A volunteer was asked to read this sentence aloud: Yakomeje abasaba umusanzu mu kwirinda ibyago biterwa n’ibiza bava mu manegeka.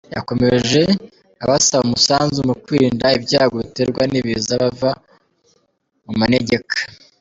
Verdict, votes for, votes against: rejected, 1, 2